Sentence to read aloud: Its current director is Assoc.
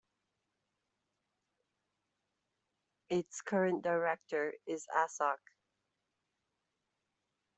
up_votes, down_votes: 1, 2